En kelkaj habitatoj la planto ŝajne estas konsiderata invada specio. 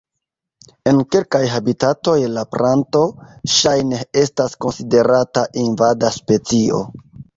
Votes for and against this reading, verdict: 0, 2, rejected